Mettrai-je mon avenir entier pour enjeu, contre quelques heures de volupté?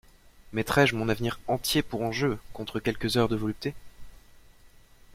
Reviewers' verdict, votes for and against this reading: accepted, 2, 0